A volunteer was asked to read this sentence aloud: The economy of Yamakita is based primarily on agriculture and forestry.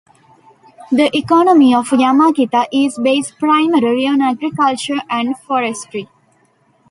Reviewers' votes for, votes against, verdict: 1, 2, rejected